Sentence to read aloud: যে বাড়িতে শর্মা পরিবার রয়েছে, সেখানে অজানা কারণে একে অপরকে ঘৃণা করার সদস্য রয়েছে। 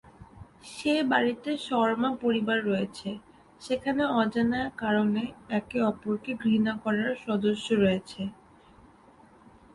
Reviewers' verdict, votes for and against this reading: rejected, 0, 2